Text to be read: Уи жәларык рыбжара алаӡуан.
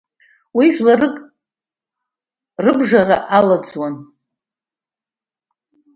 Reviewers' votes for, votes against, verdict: 2, 0, accepted